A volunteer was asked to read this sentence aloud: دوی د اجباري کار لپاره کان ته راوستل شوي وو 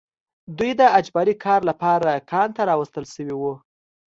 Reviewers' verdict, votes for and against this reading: accepted, 2, 0